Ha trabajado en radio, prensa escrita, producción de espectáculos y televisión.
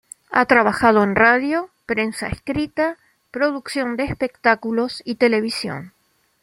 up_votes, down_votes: 2, 0